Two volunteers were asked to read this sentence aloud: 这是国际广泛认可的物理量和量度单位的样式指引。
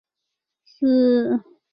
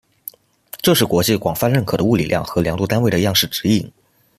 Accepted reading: second